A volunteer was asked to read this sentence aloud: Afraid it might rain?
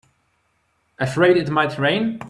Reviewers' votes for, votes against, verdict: 3, 0, accepted